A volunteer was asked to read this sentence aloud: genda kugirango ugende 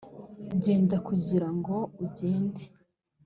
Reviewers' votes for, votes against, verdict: 3, 0, accepted